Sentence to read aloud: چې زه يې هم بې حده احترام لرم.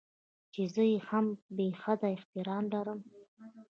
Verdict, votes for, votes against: accepted, 2, 1